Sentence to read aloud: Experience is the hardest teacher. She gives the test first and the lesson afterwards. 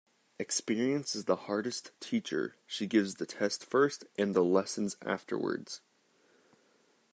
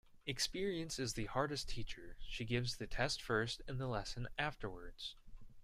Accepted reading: second